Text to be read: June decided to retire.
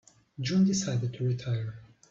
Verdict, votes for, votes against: accepted, 4, 0